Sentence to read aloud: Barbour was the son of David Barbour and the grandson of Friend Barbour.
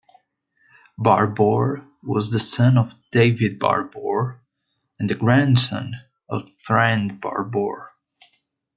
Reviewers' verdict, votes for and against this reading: accepted, 2, 0